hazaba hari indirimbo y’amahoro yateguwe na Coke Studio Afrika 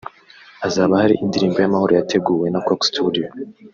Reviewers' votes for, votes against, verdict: 2, 3, rejected